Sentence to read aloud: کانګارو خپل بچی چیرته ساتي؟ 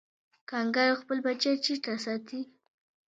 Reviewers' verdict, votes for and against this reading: accepted, 2, 0